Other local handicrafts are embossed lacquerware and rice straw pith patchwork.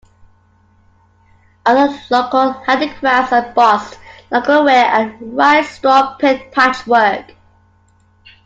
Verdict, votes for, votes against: accepted, 2, 0